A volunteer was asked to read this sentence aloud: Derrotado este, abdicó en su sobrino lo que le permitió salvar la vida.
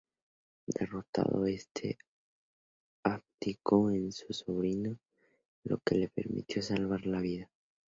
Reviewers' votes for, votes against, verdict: 4, 0, accepted